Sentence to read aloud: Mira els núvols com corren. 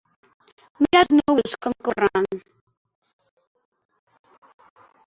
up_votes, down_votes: 1, 3